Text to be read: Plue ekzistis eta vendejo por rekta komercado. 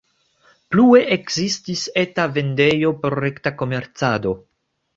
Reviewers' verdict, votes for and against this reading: accepted, 2, 1